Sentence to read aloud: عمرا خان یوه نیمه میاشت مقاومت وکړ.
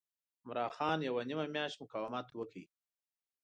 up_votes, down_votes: 1, 2